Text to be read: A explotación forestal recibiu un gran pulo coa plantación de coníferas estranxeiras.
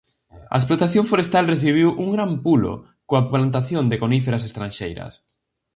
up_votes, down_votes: 2, 0